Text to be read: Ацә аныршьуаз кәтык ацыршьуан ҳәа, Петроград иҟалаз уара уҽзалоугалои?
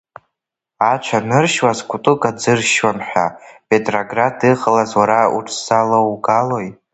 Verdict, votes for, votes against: rejected, 0, 2